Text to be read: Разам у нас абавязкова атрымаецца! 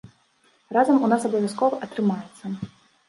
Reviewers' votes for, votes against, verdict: 2, 0, accepted